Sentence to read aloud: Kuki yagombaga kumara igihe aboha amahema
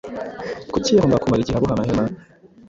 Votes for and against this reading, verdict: 1, 2, rejected